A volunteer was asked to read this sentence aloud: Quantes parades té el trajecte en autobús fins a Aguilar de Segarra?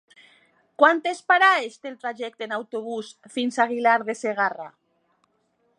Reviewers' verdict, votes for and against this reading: accepted, 2, 0